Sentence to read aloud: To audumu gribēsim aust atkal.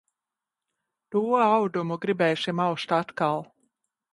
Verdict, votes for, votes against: accepted, 2, 1